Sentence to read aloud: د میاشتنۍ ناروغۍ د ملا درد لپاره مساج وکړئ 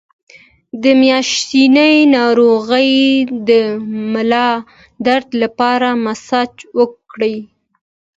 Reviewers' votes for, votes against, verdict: 2, 0, accepted